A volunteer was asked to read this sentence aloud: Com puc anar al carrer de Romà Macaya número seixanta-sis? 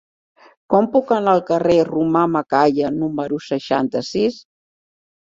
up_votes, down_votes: 3, 1